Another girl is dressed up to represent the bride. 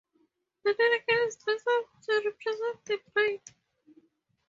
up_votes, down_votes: 0, 2